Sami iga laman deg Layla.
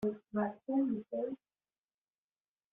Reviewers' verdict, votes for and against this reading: rejected, 0, 2